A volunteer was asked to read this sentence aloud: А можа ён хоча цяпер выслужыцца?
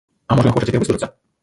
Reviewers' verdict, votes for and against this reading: rejected, 0, 2